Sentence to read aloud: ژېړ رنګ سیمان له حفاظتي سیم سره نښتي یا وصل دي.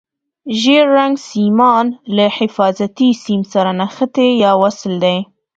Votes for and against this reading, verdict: 2, 0, accepted